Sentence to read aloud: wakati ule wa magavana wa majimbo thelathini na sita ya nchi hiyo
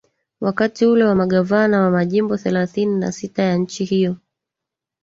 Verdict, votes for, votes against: accepted, 2, 1